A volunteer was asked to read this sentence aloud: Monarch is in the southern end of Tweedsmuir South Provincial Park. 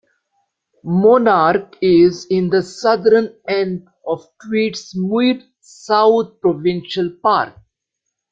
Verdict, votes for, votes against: accepted, 2, 1